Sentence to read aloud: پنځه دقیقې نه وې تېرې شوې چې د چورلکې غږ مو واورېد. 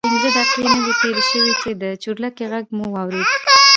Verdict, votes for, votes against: rejected, 1, 3